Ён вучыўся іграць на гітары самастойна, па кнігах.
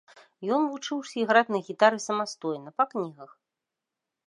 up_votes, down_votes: 3, 0